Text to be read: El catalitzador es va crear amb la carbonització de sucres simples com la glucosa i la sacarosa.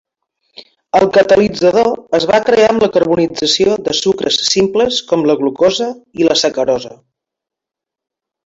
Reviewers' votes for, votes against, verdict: 2, 1, accepted